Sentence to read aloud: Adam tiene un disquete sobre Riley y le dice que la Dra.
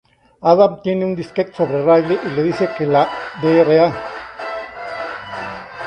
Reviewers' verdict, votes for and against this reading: accepted, 2, 0